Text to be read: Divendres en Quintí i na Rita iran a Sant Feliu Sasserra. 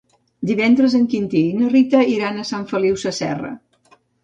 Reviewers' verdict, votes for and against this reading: accepted, 2, 0